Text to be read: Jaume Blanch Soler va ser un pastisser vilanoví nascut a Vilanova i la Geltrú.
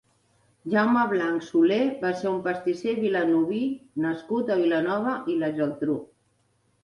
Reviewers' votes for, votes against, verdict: 3, 0, accepted